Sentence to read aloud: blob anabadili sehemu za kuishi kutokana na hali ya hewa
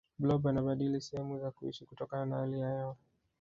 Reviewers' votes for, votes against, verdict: 0, 2, rejected